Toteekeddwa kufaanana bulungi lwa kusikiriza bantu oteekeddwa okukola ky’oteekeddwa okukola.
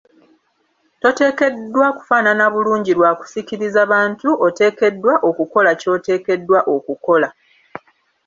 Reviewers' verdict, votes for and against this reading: accepted, 3, 0